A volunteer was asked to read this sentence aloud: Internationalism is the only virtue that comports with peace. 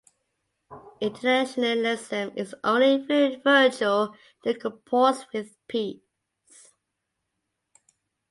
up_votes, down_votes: 1, 2